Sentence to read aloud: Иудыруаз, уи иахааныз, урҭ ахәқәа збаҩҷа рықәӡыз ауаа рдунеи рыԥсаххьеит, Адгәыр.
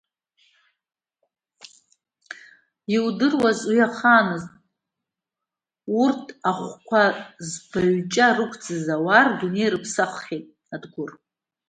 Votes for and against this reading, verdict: 2, 1, accepted